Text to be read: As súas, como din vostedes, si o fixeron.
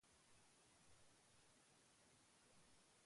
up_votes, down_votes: 0, 2